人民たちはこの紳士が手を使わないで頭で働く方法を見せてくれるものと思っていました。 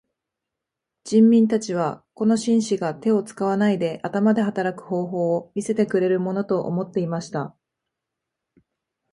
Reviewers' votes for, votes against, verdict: 2, 0, accepted